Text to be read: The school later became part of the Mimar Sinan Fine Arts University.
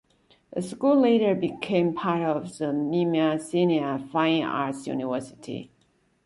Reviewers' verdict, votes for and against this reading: accepted, 2, 0